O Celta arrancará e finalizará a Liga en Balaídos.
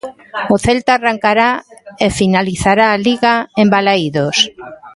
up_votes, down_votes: 2, 1